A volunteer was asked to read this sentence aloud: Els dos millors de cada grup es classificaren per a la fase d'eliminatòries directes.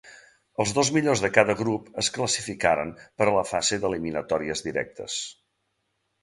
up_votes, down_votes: 2, 0